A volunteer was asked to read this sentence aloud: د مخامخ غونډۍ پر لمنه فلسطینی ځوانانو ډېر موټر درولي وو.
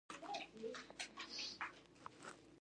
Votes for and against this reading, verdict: 0, 2, rejected